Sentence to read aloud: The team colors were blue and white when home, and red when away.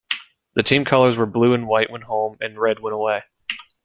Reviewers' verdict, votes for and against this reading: accepted, 2, 0